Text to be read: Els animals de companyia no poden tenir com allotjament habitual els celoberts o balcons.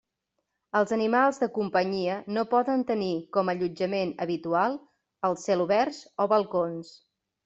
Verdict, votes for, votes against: accepted, 2, 0